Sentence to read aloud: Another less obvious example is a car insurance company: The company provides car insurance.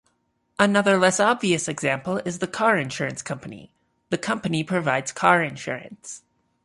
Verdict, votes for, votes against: rejected, 1, 2